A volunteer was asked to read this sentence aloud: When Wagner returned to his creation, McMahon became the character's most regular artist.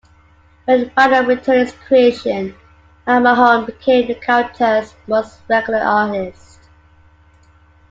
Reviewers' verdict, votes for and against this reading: rejected, 0, 2